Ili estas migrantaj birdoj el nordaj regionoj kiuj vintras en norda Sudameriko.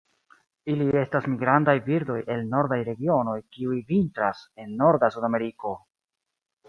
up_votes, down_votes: 0, 2